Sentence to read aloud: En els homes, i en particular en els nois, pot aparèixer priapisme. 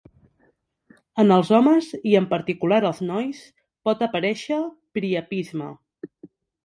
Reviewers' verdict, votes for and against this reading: rejected, 2, 3